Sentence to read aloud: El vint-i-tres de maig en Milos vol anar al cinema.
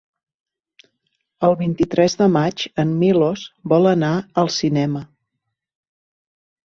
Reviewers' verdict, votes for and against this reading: accepted, 3, 0